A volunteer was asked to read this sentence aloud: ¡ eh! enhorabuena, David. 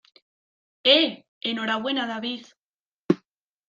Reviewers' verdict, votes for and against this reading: accepted, 2, 0